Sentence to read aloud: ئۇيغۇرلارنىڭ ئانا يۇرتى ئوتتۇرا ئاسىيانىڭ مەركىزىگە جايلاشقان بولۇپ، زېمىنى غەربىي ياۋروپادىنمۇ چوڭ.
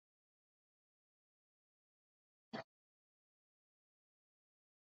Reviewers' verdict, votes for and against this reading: rejected, 0, 2